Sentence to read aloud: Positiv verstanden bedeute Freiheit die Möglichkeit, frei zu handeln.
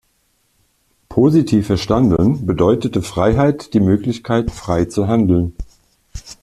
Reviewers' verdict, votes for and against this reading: rejected, 1, 2